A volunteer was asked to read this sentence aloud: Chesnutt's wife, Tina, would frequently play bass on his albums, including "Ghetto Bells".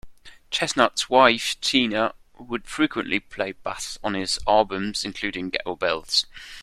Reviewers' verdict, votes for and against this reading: rejected, 0, 2